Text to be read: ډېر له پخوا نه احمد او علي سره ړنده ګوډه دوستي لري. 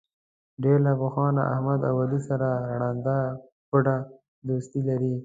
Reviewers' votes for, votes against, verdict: 2, 0, accepted